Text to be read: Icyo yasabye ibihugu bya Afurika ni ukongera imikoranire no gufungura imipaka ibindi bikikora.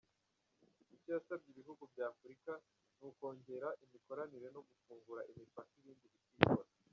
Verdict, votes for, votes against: rejected, 0, 2